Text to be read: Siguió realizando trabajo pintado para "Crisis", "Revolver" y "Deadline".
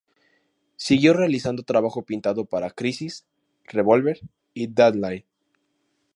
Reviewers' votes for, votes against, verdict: 4, 0, accepted